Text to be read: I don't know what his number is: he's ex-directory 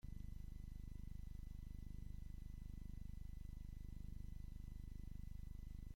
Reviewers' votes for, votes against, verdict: 0, 2, rejected